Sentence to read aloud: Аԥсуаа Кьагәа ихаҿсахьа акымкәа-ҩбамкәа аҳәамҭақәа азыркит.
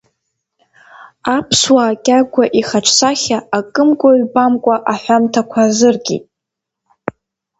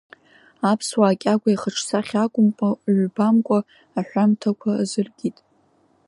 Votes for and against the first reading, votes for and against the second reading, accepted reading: 2, 0, 1, 2, first